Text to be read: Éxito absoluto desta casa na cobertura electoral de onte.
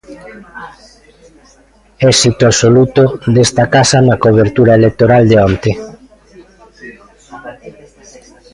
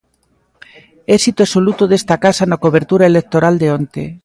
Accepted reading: second